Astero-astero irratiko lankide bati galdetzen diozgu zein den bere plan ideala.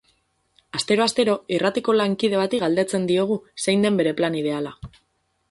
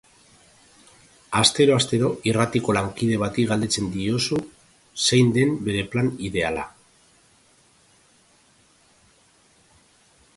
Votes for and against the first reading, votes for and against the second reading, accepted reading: 4, 2, 0, 2, first